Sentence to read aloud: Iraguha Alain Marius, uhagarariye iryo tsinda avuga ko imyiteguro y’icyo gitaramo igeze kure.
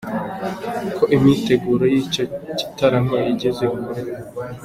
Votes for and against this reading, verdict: 0, 2, rejected